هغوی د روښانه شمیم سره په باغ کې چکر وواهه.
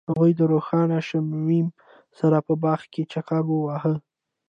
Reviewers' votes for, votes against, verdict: 2, 0, accepted